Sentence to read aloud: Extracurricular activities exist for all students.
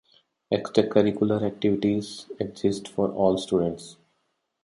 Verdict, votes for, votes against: accepted, 2, 0